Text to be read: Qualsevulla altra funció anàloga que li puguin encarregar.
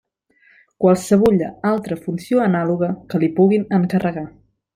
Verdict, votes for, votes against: accepted, 4, 0